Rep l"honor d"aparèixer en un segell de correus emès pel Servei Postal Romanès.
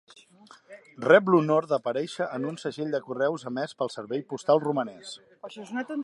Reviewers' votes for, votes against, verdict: 0, 2, rejected